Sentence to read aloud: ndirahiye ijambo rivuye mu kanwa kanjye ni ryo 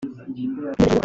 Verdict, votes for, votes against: rejected, 0, 2